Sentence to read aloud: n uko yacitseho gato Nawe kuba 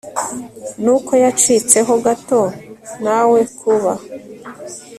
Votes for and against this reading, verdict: 2, 0, accepted